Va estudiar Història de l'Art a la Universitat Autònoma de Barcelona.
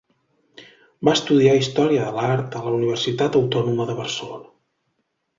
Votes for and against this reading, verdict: 2, 0, accepted